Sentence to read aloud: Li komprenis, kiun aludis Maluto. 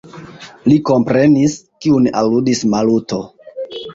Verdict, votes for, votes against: accepted, 2, 1